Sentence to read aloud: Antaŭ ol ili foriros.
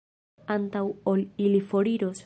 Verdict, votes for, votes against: rejected, 1, 2